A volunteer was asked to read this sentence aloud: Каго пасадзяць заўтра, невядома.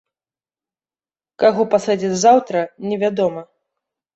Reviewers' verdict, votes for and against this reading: accepted, 2, 1